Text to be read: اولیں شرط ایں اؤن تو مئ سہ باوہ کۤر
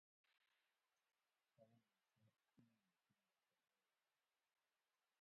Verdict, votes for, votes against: rejected, 0, 2